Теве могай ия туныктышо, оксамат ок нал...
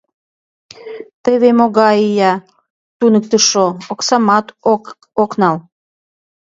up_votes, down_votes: 0, 3